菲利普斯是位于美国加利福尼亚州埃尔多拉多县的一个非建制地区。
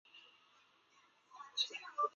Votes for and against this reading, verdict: 0, 2, rejected